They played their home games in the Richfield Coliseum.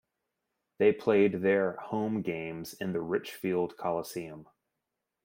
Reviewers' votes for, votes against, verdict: 2, 0, accepted